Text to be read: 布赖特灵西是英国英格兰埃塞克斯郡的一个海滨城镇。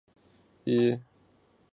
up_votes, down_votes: 0, 4